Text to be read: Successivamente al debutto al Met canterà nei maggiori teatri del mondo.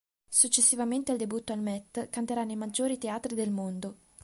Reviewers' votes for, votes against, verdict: 2, 0, accepted